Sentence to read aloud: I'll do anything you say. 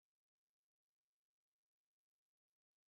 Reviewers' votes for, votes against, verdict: 1, 2, rejected